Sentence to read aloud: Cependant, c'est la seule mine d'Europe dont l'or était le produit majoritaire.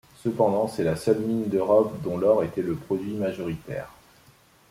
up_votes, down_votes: 2, 0